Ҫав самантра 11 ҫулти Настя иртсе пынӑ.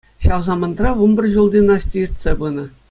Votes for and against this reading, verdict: 0, 2, rejected